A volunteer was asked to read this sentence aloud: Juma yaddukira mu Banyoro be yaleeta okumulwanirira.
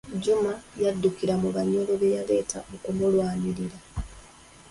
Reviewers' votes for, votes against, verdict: 2, 1, accepted